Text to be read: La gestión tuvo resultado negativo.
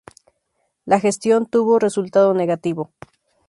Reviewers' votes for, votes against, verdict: 2, 0, accepted